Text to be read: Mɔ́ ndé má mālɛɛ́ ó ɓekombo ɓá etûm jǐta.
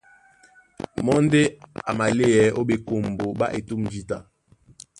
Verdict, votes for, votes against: rejected, 1, 2